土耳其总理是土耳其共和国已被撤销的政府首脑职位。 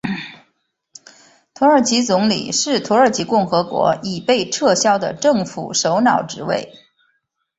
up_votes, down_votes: 7, 3